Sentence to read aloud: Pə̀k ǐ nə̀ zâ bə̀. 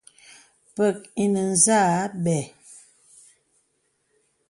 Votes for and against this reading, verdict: 2, 0, accepted